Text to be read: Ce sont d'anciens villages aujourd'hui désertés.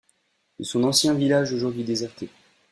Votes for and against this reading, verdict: 0, 2, rejected